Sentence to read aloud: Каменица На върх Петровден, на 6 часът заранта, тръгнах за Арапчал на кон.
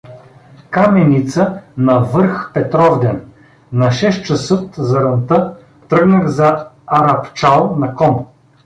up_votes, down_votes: 0, 2